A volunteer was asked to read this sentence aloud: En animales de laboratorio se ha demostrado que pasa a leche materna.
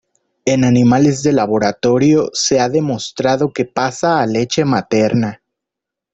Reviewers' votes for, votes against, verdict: 2, 0, accepted